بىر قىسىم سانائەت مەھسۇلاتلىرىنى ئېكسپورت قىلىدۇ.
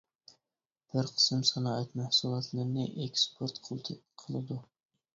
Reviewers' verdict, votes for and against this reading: rejected, 1, 2